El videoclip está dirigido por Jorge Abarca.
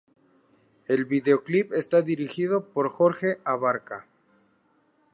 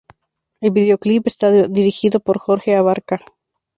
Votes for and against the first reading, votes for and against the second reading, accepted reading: 2, 0, 2, 2, first